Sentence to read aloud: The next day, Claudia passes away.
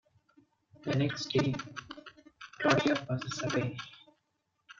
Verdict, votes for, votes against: rejected, 0, 2